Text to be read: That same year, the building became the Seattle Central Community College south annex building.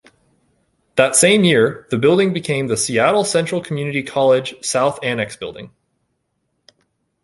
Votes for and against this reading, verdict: 2, 0, accepted